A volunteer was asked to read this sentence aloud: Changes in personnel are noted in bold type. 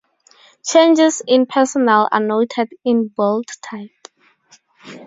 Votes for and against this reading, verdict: 4, 0, accepted